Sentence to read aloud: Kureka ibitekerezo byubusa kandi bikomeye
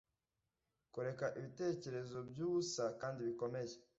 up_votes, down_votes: 2, 0